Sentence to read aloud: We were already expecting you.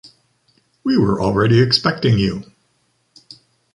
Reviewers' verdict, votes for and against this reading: accepted, 2, 0